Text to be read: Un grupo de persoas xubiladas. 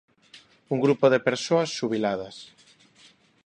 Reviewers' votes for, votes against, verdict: 2, 1, accepted